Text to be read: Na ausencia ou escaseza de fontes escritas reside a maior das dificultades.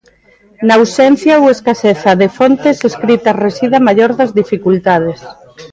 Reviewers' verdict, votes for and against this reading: accepted, 2, 0